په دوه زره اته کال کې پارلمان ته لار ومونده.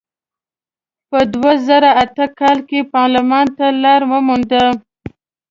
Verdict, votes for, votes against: accepted, 2, 0